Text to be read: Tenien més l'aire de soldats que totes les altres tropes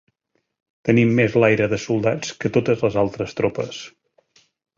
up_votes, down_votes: 1, 2